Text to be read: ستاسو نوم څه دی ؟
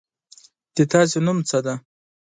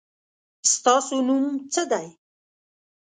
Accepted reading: second